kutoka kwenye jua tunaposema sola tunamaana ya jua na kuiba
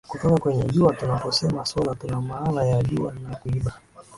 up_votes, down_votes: 2, 0